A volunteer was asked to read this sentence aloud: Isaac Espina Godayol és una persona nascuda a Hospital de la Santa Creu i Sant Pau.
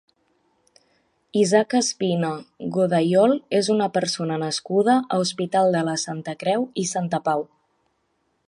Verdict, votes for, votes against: accepted, 2, 1